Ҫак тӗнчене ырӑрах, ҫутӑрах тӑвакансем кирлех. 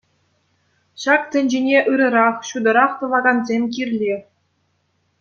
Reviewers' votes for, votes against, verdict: 2, 0, accepted